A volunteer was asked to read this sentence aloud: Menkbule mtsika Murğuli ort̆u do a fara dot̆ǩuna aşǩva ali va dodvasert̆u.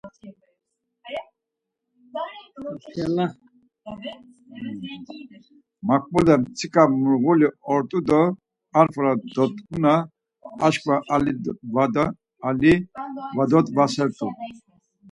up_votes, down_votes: 0, 4